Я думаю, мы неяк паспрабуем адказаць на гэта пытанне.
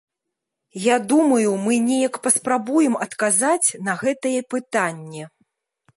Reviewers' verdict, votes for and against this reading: rejected, 0, 2